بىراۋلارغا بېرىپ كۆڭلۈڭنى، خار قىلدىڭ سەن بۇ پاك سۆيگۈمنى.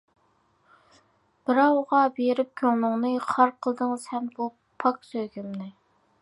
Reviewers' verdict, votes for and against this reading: rejected, 0, 2